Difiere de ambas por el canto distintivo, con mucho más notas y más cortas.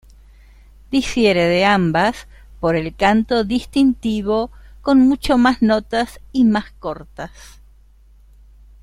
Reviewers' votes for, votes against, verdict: 2, 1, accepted